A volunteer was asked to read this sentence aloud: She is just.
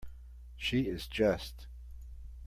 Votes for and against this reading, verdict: 2, 1, accepted